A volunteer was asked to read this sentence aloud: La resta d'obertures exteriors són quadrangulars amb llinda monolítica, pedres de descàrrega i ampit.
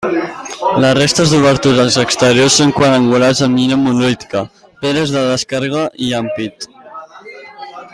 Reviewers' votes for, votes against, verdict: 0, 2, rejected